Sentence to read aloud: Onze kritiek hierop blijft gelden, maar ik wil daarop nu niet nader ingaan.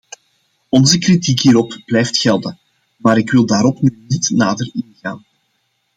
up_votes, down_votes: 2, 0